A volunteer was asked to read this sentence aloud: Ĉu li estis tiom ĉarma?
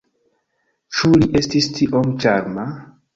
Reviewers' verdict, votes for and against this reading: accepted, 2, 0